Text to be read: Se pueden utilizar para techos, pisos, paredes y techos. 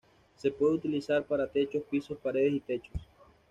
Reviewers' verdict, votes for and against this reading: rejected, 1, 2